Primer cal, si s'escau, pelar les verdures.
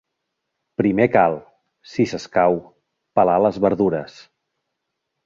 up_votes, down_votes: 3, 0